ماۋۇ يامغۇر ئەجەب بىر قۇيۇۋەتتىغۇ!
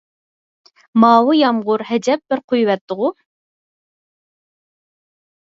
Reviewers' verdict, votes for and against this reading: accepted, 4, 2